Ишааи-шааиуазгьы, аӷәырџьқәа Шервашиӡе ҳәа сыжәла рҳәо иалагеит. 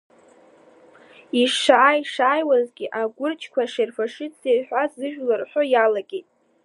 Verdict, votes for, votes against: accepted, 2, 0